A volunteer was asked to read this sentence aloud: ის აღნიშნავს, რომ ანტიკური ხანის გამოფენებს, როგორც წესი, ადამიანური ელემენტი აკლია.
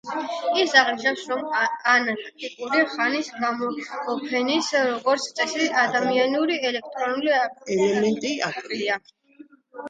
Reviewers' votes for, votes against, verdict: 1, 2, rejected